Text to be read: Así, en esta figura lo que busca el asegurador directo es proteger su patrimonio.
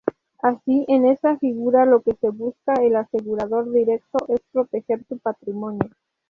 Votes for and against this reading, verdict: 0, 2, rejected